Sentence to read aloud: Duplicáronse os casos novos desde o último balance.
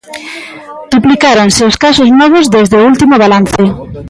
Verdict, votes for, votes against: rejected, 1, 2